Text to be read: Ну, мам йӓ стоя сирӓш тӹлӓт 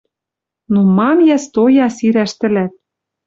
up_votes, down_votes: 2, 0